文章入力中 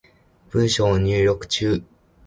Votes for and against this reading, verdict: 2, 0, accepted